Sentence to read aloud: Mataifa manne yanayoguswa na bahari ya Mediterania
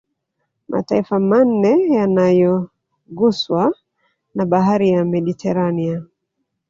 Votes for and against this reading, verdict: 1, 2, rejected